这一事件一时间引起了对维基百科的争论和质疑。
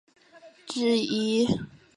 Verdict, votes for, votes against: rejected, 0, 2